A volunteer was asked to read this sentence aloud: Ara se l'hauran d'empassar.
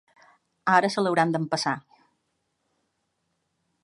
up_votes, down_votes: 5, 0